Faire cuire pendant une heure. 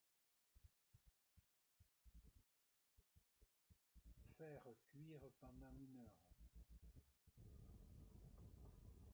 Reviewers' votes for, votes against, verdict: 0, 2, rejected